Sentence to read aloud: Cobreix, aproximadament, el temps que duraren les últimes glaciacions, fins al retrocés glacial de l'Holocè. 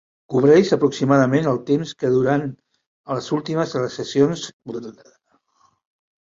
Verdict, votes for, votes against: rejected, 0, 2